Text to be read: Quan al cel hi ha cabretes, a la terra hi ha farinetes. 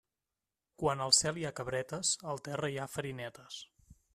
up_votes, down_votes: 0, 2